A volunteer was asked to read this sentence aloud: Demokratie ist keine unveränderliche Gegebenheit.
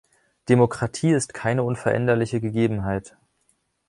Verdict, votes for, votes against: rejected, 1, 2